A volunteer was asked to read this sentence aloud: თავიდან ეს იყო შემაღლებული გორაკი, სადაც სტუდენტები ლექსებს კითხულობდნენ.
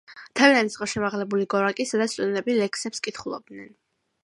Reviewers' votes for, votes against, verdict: 1, 2, rejected